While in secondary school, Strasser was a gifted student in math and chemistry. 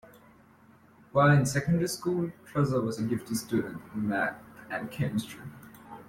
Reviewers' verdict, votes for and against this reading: accepted, 2, 0